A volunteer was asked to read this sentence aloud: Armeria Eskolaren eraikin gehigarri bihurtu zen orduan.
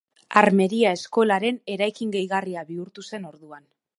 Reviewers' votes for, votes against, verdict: 1, 3, rejected